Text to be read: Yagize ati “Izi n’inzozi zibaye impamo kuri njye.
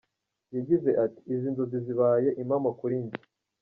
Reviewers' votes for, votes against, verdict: 2, 0, accepted